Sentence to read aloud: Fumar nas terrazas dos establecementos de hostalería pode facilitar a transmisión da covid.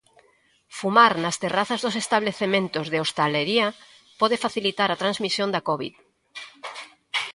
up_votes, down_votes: 2, 0